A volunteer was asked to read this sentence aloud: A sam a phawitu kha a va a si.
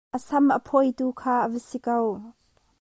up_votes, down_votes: 1, 2